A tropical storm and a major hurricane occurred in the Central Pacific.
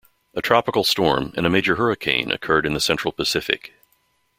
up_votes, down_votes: 2, 0